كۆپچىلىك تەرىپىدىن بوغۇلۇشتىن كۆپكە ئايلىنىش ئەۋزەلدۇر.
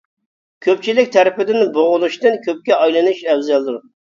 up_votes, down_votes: 2, 0